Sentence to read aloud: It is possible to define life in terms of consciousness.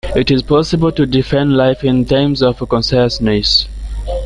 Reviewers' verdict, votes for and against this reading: rejected, 1, 2